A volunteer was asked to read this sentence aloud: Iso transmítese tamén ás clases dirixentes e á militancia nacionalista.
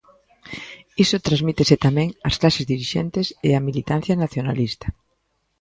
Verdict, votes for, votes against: accepted, 2, 0